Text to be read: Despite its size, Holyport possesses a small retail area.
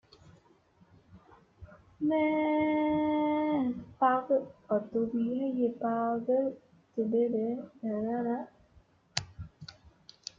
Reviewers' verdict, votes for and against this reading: rejected, 1, 2